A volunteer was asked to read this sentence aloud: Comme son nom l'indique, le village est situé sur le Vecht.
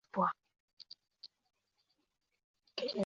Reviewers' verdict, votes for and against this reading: rejected, 0, 2